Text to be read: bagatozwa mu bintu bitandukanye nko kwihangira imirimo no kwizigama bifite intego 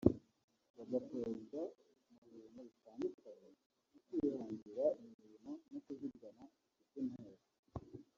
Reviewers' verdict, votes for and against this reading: rejected, 0, 2